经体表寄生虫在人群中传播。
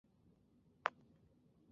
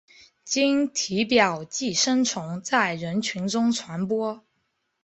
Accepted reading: second